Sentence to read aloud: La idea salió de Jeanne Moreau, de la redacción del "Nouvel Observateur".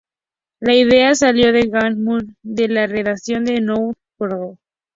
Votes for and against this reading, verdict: 0, 2, rejected